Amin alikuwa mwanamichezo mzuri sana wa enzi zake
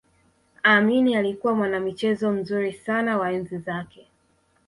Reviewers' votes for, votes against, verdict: 2, 0, accepted